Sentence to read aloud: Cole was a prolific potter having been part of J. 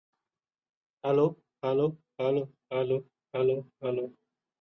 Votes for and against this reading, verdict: 0, 2, rejected